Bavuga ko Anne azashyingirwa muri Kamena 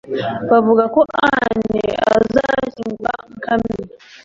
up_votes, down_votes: 1, 2